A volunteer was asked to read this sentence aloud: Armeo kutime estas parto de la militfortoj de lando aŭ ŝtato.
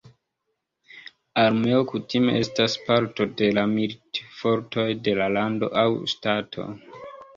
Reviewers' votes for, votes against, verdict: 0, 2, rejected